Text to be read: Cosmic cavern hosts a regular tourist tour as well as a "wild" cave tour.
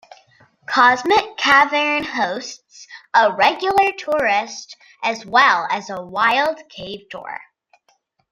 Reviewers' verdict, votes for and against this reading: rejected, 0, 2